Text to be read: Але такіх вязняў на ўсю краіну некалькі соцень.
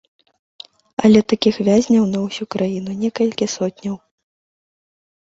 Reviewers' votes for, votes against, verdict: 1, 2, rejected